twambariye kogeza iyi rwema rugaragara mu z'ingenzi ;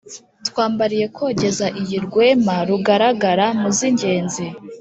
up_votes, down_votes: 3, 0